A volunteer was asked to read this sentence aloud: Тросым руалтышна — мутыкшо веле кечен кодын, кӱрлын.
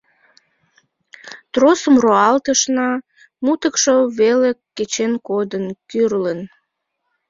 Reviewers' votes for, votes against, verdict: 2, 0, accepted